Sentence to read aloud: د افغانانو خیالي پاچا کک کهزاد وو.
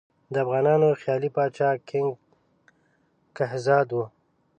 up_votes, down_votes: 0, 2